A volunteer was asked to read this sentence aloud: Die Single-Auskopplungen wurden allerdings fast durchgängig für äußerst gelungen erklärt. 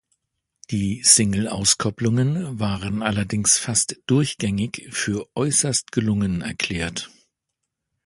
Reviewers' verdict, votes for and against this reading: rejected, 0, 2